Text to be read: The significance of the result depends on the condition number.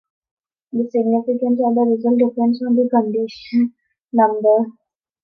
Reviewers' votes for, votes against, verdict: 2, 0, accepted